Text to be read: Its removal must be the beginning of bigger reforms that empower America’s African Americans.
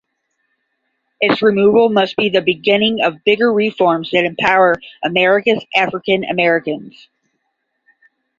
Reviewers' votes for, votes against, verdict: 5, 0, accepted